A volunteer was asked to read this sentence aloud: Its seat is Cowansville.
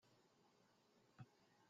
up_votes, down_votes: 0, 2